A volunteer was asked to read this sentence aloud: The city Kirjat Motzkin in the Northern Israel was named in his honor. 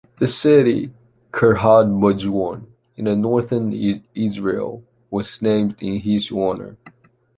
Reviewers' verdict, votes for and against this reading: rejected, 1, 2